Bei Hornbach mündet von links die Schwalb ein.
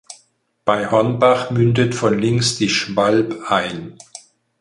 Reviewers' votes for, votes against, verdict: 4, 0, accepted